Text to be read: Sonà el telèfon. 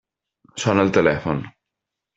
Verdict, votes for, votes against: rejected, 0, 2